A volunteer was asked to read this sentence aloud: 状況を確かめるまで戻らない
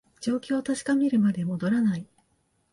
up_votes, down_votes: 2, 0